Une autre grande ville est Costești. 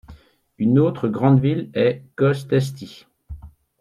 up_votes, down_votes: 2, 0